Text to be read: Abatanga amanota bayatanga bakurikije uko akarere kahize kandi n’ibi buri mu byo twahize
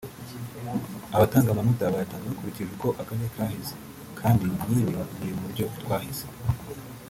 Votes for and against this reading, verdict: 0, 2, rejected